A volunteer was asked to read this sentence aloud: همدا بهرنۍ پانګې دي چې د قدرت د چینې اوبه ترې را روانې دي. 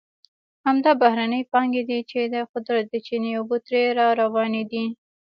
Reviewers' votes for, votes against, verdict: 1, 2, rejected